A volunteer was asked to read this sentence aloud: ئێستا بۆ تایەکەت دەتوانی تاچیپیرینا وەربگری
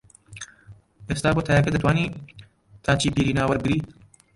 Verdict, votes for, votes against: rejected, 0, 2